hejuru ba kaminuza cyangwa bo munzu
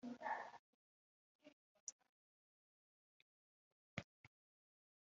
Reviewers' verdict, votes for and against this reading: rejected, 0, 2